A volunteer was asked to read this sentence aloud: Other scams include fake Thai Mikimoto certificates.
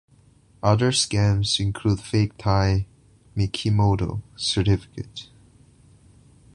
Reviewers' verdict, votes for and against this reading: accepted, 2, 0